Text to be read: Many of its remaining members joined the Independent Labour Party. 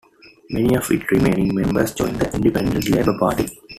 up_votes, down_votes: 2, 1